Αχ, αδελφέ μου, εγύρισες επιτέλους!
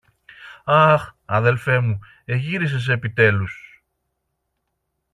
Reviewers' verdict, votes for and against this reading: accepted, 2, 0